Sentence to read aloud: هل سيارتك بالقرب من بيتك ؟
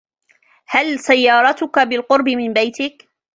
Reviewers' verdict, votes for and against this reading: accepted, 2, 1